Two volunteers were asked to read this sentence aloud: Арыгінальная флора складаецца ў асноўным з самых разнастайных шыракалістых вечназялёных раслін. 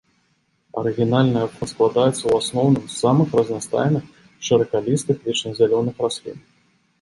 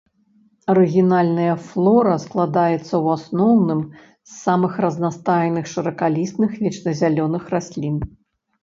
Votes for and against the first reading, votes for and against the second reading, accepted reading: 1, 2, 2, 1, second